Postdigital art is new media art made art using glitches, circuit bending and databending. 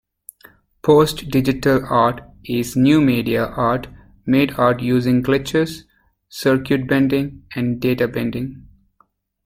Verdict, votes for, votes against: accepted, 2, 0